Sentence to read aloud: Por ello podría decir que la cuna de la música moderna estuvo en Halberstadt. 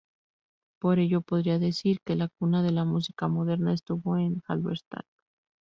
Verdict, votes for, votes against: accepted, 2, 0